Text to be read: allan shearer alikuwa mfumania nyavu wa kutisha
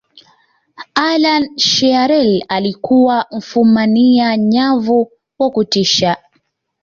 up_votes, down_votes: 2, 0